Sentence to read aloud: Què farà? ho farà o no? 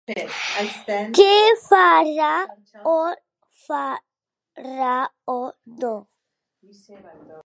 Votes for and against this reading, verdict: 0, 2, rejected